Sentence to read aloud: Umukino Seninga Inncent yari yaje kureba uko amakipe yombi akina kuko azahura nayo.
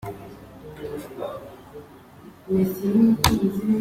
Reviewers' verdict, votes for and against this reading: rejected, 1, 2